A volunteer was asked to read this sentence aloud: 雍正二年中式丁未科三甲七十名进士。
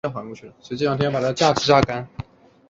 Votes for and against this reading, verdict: 1, 5, rejected